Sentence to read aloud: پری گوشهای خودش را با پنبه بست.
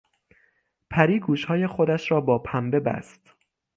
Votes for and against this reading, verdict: 6, 0, accepted